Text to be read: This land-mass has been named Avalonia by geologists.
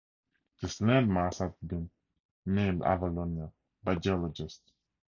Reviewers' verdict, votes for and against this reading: accepted, 4, 0